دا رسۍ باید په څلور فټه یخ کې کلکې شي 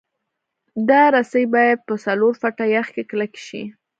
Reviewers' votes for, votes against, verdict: 1, 2, rejected